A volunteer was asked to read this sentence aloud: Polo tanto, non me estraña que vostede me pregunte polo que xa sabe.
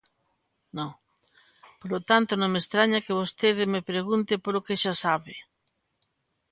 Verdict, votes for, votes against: rejected, 0, 2